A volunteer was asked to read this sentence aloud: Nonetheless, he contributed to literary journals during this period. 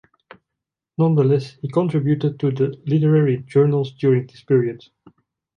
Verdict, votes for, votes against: rejected, 0, 2